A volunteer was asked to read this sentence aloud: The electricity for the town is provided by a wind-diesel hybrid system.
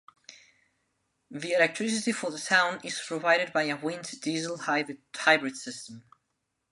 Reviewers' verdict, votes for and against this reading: rejected, 1, 2